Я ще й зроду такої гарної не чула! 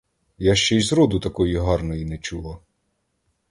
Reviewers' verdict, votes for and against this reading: accepted, 2, 0